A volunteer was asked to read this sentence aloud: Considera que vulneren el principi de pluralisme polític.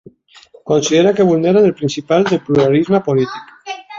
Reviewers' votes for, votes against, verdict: 0, 2, rejected